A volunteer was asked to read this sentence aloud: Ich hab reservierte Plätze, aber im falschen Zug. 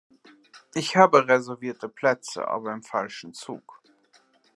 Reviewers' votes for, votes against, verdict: 2, 0, accepted